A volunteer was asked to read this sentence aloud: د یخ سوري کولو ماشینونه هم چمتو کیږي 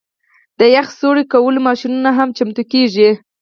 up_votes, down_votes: 2, 4